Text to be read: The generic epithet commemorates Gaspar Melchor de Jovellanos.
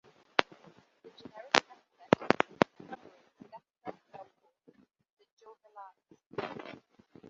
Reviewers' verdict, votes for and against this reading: rejected, 0, 2